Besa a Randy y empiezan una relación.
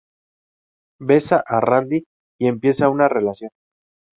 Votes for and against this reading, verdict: 0, 2, rejected